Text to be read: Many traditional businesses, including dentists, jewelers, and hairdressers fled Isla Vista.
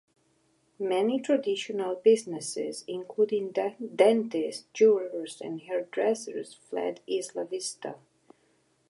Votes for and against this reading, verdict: 1, 3, rejected